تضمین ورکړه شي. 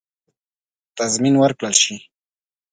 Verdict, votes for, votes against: accepted, 7, 1